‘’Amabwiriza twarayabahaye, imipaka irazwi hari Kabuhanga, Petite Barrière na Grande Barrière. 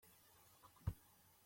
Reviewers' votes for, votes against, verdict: 0, 2, rejected